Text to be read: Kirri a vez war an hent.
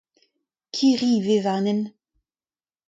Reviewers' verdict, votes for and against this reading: accepted, 2, 0